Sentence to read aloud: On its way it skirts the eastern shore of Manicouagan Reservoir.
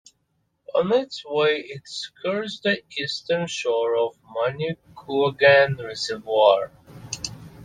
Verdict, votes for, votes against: accepted, 2, 0